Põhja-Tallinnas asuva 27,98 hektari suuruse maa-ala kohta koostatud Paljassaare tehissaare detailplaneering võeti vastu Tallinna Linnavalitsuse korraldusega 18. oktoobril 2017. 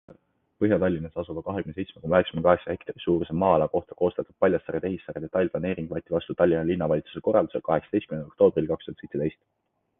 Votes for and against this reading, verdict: 0, 2, rejected